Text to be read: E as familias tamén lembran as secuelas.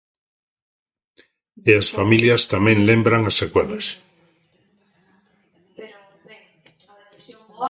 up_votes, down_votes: 1, 2